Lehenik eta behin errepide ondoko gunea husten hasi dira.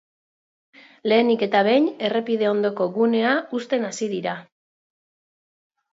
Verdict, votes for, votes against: accepted, 4, 0